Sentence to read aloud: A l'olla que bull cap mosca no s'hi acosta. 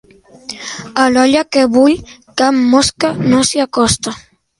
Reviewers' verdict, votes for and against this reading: accepted, 2, 0